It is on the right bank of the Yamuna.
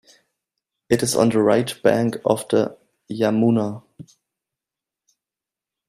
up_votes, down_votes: 2, 0